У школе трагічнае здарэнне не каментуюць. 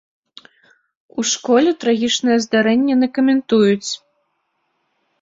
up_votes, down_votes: 1, 2